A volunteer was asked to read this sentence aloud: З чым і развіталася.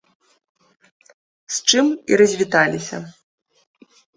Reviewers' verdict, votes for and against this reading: rejected, 1, 2